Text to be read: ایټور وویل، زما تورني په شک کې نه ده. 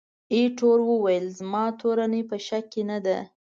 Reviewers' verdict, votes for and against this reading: accepted, 2, 0